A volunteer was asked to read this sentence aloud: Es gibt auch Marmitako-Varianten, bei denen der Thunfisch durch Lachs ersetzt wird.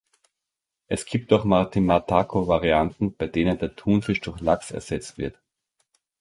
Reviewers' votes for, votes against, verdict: 1, 2, rejected